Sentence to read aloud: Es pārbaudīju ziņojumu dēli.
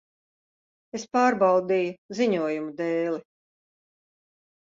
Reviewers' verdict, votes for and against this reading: accepted, 2, 0